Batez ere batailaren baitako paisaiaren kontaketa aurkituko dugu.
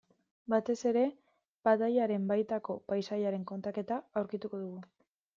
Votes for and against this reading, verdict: 2, 0, accepted